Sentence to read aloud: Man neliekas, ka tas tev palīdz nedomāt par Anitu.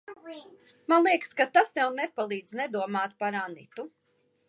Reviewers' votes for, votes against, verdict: 1, 2, rejected